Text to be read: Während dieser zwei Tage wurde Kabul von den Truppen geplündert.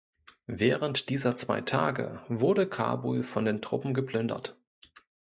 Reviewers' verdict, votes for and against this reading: accepted, 2, 0